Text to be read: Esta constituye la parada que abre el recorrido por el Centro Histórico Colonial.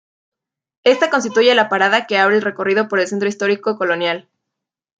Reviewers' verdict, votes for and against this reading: rejected, 1, 2